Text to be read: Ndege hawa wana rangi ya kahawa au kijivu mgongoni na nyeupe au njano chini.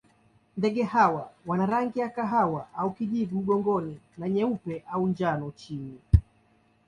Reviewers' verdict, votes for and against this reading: accepted, 2, 0